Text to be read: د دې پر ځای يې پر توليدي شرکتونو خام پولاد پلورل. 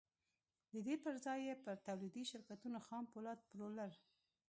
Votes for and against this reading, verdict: 2, 0, accepted